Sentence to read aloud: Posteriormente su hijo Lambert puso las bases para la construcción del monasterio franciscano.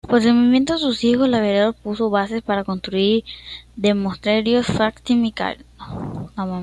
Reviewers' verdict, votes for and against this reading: rejected, 0, 2